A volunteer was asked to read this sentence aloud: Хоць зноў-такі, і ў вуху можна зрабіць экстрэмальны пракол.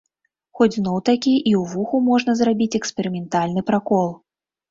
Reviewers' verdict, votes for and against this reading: rejected, 1, 2